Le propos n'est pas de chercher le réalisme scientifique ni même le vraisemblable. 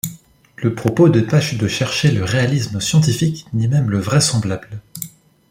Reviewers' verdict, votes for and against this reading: rejected, 0, 2